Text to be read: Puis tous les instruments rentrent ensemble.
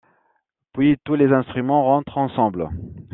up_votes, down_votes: 2, 0